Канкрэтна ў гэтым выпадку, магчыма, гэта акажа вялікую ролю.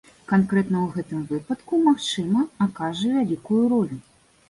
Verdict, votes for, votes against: rejected, 1, 2